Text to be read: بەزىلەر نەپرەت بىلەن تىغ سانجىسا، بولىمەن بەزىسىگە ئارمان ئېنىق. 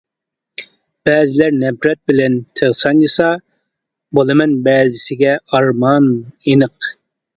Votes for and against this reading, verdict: 2, 0, accepted